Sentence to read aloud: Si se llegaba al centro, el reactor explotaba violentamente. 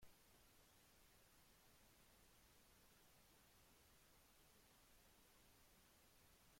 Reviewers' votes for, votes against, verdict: 1, 2, rejected